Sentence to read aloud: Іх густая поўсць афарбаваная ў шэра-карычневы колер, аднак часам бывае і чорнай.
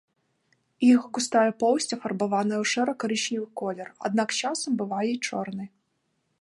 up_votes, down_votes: 0, 2